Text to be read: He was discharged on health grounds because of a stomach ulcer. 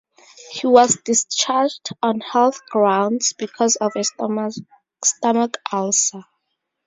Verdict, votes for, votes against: rejected, 2, 4